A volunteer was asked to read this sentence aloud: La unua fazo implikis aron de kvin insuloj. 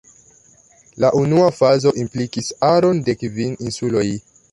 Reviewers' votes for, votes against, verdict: 2, 0, accepted